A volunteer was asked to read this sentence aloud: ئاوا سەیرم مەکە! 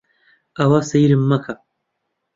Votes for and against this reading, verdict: 2, 0, accepted